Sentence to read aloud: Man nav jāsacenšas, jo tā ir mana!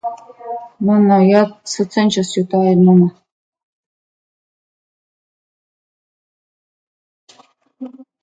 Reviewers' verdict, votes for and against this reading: rejected, 0, 2